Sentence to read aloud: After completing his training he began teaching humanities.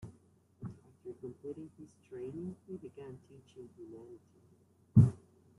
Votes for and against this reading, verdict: 0, 2, rejected